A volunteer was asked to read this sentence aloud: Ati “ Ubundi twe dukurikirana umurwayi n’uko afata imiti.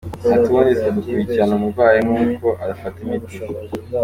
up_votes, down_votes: 2, 1